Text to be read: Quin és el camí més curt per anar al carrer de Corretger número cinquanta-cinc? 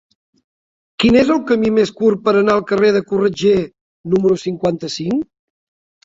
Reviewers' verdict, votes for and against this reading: accepted, 4, 0